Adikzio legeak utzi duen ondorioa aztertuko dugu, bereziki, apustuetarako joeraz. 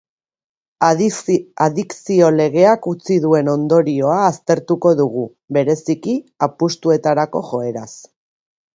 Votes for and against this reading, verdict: 0, 2, rejected